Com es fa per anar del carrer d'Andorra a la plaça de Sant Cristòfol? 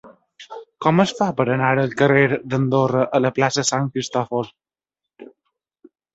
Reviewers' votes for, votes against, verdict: 1, 2, rejected